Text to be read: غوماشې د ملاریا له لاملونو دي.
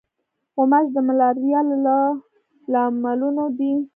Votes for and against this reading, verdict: 2, 1, accepted